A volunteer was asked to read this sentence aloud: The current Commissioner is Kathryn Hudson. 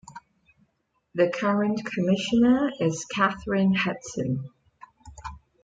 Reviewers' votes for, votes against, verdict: 2, 0, accepted